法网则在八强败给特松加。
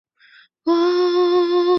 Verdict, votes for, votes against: rejected, 1, 6